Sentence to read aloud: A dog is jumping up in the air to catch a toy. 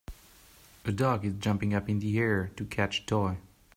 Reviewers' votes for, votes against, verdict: 2, 0, accepted